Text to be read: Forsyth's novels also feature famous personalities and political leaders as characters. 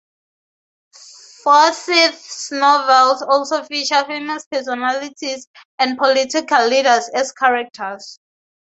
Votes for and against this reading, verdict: 4, 0, accepted